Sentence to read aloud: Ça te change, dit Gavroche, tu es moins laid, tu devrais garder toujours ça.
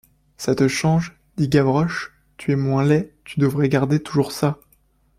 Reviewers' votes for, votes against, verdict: 2, 1, accepted